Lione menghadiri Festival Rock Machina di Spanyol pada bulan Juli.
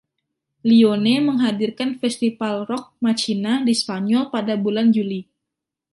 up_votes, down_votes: 2, 0